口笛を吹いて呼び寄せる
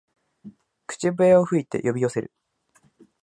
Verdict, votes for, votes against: accepted, 3, 0